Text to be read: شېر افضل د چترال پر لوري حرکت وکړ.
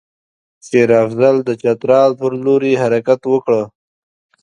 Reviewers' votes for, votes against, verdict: 3, 1, accepted